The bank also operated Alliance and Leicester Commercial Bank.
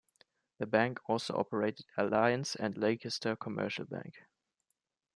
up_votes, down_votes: 2, 0